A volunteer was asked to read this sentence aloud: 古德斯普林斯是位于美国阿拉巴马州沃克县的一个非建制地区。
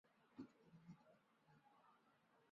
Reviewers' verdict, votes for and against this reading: rejected, 0, 3